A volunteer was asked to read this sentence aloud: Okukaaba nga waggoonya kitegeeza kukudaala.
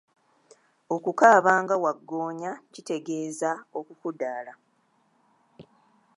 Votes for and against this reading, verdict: 1, 2, rejected